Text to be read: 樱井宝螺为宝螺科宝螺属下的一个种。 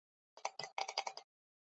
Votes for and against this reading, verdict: 0, 4, rejected